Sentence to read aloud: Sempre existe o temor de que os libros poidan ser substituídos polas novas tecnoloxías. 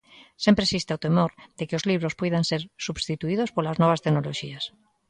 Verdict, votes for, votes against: accepted, 2, 0